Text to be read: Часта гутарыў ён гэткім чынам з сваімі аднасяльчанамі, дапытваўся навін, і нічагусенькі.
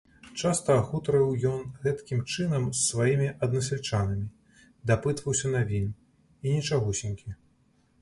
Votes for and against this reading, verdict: 2, 0, accepted